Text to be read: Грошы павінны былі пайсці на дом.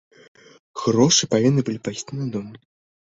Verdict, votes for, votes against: accepted, 2, 1